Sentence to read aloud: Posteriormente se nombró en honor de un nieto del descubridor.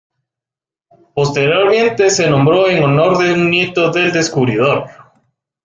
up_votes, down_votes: 1, 2